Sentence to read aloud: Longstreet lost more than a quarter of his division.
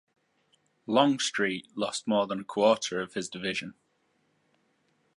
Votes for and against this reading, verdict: 2, 1, accepted